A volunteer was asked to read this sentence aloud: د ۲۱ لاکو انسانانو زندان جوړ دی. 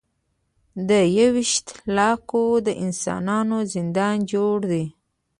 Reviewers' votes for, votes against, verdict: 0, 2, rejected